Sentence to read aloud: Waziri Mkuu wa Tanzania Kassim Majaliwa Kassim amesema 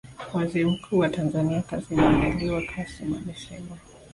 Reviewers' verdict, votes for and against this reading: rejected, 1, 2